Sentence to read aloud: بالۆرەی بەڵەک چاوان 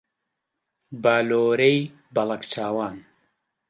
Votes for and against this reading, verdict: 2, 0, accepted